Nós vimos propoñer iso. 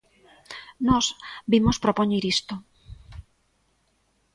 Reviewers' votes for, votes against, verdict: 2, 0, accepted